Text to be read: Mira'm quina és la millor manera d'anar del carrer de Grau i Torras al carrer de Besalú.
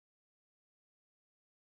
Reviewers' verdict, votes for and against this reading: rejected, 1, 2